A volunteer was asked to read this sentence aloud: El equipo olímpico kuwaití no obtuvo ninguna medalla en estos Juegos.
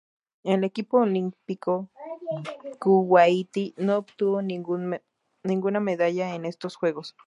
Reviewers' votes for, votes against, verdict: 2, 0, accepted